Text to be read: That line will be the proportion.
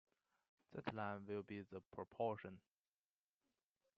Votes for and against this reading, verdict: 1, 2, rejected